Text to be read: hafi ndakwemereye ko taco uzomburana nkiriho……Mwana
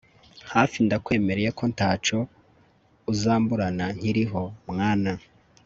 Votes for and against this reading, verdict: 3, 0, accepted